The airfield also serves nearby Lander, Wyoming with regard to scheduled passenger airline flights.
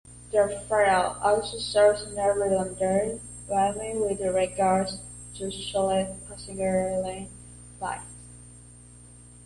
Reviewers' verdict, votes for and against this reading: rejected, 1, 2